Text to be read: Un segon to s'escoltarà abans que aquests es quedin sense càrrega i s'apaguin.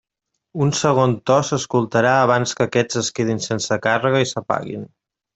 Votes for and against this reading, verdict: 3, 0, accepted